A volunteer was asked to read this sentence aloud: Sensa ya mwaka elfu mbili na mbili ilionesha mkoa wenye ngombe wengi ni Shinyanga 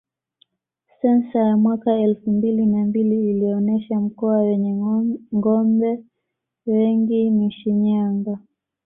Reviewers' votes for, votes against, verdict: 0, 2, rejected